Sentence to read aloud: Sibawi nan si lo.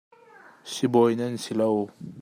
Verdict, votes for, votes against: accepted, 2, 0